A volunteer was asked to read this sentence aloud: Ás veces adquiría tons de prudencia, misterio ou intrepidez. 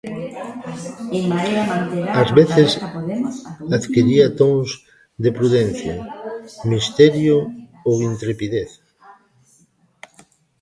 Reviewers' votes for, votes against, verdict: 1, 2, rejected